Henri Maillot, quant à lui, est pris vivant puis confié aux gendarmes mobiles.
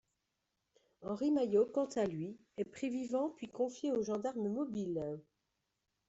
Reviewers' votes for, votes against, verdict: 2, 0, accepted